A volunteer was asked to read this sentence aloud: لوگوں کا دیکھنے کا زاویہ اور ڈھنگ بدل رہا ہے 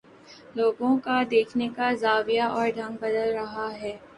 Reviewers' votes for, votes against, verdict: 2, 0, accepted